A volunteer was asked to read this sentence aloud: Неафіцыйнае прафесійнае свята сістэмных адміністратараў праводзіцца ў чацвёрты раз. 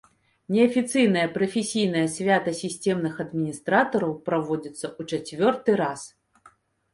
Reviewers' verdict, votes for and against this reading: rejected, 0, 2